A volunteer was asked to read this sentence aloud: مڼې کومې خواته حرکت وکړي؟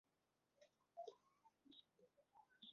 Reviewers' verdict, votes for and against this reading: rejected, 0, 2